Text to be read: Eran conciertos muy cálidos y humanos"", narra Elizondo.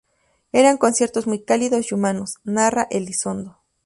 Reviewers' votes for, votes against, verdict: 0, 2, rejected